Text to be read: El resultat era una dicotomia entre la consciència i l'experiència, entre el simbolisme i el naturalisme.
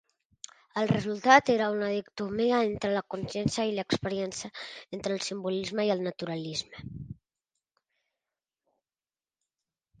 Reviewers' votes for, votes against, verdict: 0, 2, rejected